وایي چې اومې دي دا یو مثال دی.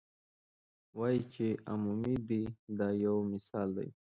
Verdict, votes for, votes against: rejected, 1, 2